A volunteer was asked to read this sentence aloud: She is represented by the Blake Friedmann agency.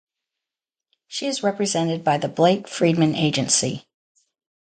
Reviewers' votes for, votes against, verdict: 2, 0, accepted